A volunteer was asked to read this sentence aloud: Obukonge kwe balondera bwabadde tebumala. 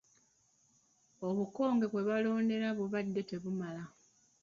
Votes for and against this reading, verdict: 1, 2, rejected